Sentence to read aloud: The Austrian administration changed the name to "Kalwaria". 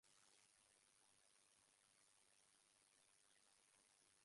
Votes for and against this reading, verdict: 0, 7, rejected